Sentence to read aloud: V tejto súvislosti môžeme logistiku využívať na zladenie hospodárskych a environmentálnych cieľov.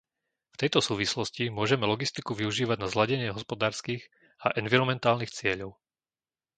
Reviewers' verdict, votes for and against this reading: accepted, 2, 0